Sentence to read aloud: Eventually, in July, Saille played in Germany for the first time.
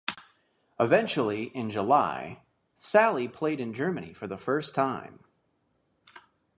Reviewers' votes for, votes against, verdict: 2, 0, accepted